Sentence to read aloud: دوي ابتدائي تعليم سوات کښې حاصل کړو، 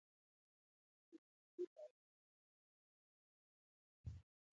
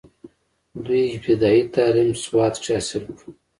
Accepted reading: second